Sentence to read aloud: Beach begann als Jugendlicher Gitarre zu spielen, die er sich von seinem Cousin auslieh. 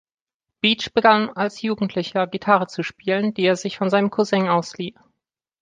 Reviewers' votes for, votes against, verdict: 2, 0, accepted